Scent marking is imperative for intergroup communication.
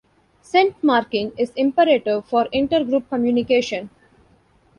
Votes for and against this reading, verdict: 1, 2, rejected